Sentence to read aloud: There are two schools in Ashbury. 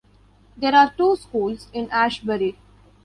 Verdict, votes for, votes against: accepted, 2, 1